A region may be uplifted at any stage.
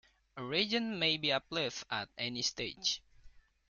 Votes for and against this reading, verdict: 0, 2, rejected